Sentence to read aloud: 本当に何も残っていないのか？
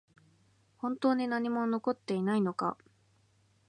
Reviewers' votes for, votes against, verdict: 2, 0, accepted